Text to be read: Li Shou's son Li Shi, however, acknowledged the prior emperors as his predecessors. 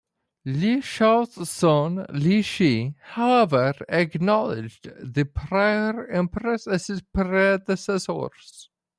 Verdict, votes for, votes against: accepted, 2, 0